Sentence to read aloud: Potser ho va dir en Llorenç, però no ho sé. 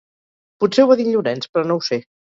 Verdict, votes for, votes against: rejected, 2, 2